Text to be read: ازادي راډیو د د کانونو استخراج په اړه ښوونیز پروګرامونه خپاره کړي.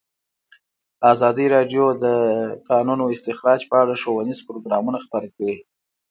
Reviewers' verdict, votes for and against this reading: accepted, 2, 0